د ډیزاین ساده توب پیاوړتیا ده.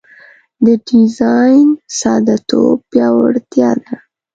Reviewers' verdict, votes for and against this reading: accepted, 2, 0